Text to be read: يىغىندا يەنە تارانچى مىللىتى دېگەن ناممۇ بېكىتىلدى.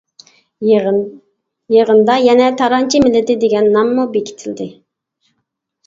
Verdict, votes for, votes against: rejected, 1, 2